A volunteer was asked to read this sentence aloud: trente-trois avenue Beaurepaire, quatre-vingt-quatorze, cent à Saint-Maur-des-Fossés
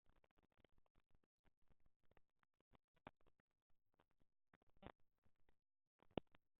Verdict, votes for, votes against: rejected, 0, 2